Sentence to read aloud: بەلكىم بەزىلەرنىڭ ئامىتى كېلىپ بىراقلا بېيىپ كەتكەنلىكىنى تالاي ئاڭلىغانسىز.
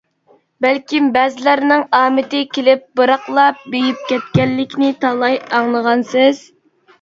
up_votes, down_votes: 2, 0